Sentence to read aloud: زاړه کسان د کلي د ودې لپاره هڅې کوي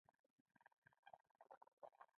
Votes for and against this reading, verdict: 0, 2, rejected